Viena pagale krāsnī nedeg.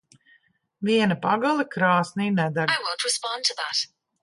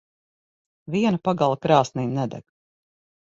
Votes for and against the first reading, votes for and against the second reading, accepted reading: 0, 2, 6, 0, second